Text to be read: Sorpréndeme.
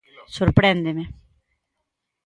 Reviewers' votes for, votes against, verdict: 3, 0, accepted